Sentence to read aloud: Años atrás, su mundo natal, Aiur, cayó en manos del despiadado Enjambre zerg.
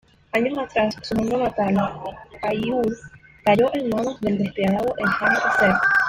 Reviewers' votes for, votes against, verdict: 1, 2, rejected